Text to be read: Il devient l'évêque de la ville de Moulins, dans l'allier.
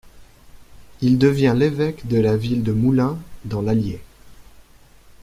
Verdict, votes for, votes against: accepted, 2, 0